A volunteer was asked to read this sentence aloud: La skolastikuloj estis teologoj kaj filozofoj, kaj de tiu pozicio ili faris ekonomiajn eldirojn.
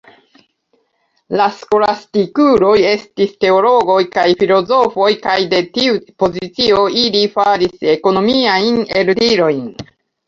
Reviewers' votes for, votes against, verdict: 0, 2, rejected